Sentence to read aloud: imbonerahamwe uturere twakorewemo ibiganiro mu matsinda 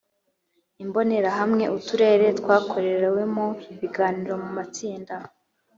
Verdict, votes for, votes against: accepted, 3, 1